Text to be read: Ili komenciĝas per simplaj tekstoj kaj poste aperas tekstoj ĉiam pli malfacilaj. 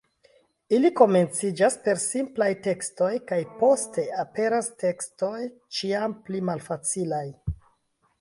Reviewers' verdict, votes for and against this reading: rejected, 1, 2